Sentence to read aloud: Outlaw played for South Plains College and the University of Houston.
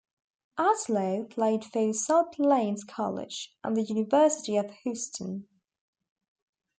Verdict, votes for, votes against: accepted, 2, 0